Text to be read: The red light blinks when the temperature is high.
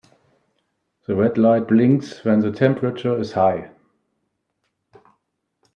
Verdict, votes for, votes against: accepted, 3, 0